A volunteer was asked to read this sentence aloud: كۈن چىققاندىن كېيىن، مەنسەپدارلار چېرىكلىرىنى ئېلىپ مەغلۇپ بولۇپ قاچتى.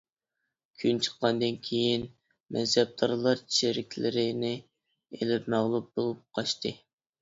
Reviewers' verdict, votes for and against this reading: accepted, 2, 1